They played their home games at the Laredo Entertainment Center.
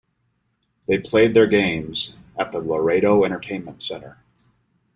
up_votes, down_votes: 0, 2